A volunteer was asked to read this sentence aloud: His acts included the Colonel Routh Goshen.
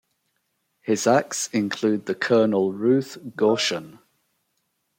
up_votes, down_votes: 1, 2